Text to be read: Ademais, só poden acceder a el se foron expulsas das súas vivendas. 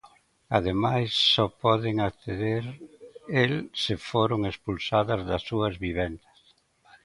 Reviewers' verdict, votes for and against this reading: rejected, 0, 2